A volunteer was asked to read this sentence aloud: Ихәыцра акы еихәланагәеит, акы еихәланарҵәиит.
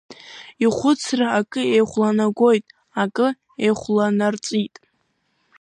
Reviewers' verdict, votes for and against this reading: accepted, 2, 1